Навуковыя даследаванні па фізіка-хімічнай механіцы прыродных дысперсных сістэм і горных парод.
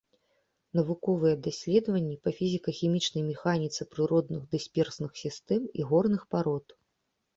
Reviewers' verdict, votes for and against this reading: accepted, 2, 0